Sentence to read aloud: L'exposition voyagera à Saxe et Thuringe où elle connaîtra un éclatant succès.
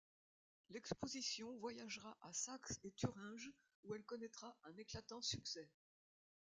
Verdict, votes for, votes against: rejected, 0, 2